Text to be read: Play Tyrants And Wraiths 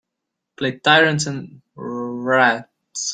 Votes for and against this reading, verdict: 0, 2, rejected